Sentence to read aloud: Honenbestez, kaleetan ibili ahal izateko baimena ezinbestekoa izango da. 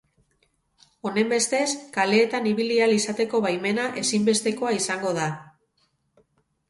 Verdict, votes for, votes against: accepted, 2, 0